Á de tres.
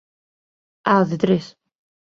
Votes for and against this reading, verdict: 2, 0, accepted